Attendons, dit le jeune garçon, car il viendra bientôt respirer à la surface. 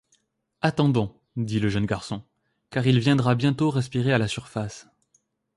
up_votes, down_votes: 2, 0